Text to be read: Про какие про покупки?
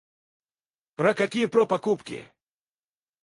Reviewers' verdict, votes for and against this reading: rejected, 0, 4